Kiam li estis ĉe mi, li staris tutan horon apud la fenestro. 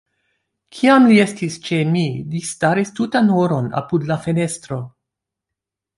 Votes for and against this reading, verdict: 2, 1, accepted